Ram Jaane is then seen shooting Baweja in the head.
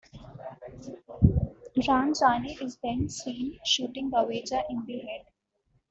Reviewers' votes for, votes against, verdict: 2, 0, accepted